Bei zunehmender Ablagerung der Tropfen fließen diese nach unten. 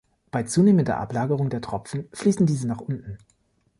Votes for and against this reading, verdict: 2, 0, accepted